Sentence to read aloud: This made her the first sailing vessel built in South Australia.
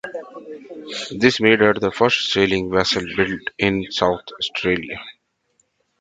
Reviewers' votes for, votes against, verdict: 2, 1, accepted